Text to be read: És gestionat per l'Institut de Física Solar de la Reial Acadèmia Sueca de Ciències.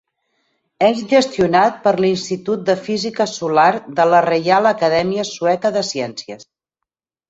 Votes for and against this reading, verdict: 10, 0, accepted